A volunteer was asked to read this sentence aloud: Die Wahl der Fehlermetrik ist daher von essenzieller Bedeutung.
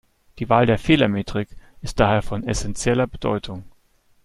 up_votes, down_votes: 3, 0